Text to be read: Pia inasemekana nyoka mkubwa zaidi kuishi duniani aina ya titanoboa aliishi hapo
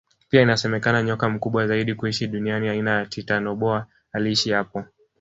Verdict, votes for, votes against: rejected, 0, 2